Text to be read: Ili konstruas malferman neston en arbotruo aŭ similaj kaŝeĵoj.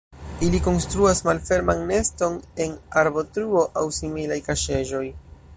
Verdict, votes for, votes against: accepted, 2, 0